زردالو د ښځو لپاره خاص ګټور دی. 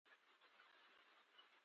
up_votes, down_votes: 0, 2